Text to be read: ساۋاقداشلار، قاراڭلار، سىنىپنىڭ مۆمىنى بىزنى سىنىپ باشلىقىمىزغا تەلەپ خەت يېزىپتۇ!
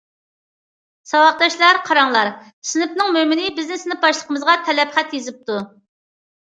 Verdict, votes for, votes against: accepted, 2, 0